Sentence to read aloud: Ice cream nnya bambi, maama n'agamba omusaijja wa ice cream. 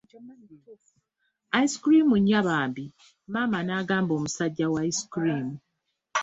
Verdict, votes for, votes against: accepted, 2, 0